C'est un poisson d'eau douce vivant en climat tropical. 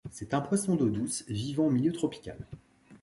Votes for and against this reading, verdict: 2, 1, accepted